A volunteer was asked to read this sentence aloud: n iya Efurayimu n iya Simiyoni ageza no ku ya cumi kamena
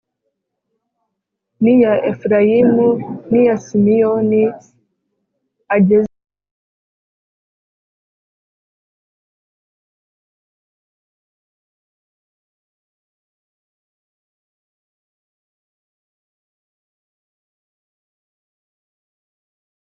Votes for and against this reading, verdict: 0, 3, rejected